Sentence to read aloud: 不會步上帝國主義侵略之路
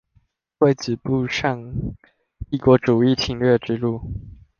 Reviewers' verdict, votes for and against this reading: rejected, 1, 2